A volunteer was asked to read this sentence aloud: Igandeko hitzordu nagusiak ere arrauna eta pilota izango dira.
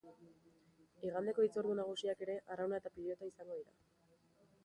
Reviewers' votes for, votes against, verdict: 3, 0, accepted